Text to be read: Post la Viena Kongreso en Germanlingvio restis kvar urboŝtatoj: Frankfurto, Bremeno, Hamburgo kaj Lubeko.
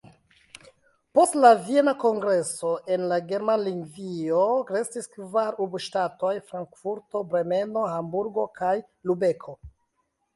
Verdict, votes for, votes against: rejected, 0, 2